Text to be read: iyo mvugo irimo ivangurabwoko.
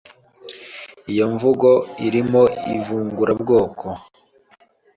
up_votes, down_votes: 1, 2